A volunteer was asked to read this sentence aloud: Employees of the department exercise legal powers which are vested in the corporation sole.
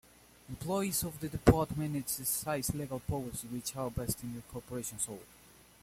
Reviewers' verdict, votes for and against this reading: rejected, 0, 2